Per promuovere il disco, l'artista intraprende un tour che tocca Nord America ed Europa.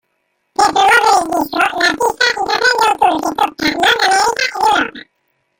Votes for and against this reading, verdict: 0, 2, rejected